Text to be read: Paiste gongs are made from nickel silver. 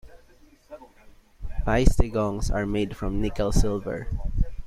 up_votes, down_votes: 0, 2